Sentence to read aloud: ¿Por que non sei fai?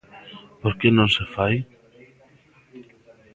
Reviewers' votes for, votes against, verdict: 0, 2, rejected